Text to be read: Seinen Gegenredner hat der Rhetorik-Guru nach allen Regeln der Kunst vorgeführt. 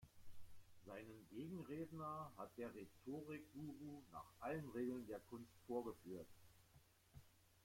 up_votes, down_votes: 2, 0